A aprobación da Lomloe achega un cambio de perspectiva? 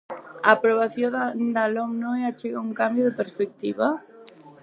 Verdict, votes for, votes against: rejected, 0, 4